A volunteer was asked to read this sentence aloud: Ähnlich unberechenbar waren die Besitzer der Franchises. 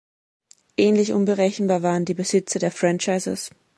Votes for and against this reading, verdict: 2, 0, accepted